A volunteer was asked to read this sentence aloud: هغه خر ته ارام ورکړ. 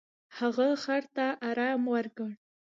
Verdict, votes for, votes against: rejected, 0, 2